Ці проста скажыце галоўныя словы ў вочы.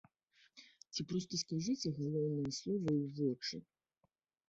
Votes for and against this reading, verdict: 1, 2, rejected